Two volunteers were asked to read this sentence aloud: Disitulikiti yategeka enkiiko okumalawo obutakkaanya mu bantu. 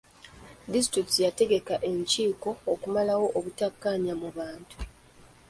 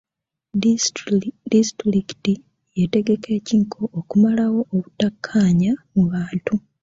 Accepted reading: first